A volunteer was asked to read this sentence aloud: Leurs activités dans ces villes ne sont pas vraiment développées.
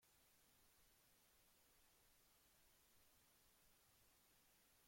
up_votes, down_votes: 1, 2